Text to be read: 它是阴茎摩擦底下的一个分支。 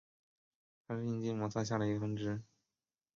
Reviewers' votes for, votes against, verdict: 2, 3, rejected